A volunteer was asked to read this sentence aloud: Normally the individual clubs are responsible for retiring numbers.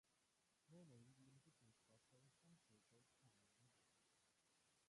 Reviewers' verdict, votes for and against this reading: rejected, 0, 2